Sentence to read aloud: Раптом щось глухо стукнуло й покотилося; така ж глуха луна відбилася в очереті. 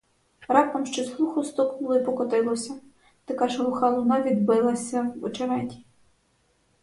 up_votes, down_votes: 4, 0